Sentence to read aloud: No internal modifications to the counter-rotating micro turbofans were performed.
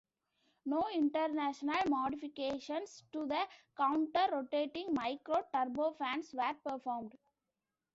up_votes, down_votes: 0, 2